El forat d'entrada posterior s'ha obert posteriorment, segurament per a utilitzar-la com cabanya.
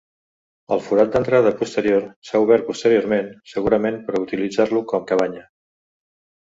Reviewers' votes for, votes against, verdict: 1, 2, rejected